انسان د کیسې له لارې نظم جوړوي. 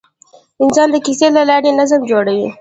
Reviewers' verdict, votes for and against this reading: rejected, 1, 2